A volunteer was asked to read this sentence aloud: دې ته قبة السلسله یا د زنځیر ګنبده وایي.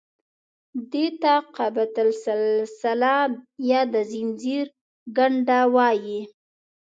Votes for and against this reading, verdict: 1, 3, rejected